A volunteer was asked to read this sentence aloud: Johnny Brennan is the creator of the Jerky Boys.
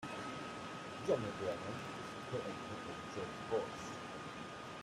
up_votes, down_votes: 0, 2